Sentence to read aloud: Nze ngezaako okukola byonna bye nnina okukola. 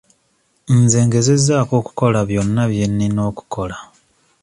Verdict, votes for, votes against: accepted, 2, 1